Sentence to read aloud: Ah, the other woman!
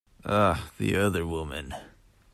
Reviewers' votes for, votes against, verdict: 2, 0, accepted